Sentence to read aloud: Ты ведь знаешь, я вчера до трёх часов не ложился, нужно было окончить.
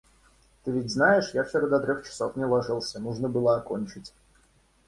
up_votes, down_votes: 2, 0